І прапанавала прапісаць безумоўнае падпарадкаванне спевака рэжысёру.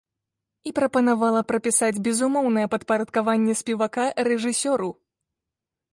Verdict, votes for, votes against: accepted, 3, 0